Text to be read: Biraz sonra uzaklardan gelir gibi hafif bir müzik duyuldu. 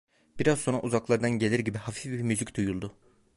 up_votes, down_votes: 2, 0